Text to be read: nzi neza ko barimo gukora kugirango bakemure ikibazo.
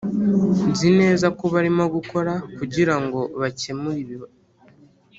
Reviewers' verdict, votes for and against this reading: rejected, 1, 2